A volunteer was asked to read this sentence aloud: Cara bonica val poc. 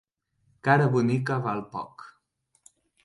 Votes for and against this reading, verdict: 4, 0, accepted